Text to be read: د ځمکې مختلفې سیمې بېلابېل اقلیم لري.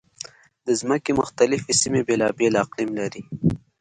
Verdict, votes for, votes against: accepted, 2, 0